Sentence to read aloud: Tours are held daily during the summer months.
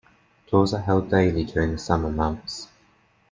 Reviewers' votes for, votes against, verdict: 2, 0, accepted